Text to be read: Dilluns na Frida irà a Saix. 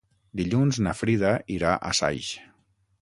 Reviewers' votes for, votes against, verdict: 6, 0, accepted